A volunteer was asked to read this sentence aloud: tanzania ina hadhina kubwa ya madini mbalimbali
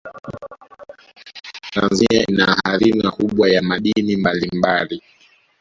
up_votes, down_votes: 0, 2